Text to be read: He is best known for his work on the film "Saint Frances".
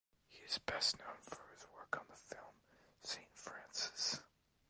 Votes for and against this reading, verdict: 2, 0, accepted